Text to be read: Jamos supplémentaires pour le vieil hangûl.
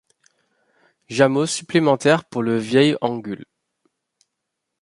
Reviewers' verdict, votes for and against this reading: rejected, 0, 2